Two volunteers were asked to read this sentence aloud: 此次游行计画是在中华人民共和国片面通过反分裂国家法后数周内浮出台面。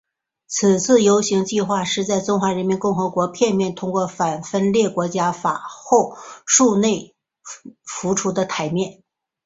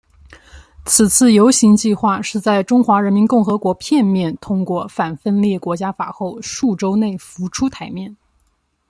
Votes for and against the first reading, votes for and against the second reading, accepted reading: 0, 2, 2, 0, second